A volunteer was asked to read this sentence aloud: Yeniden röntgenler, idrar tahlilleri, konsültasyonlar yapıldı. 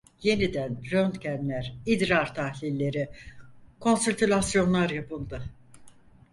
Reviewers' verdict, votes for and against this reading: rejected, 0, 4